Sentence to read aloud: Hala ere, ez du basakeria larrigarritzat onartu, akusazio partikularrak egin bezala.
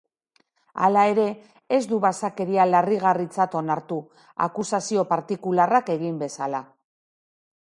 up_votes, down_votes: 2, 0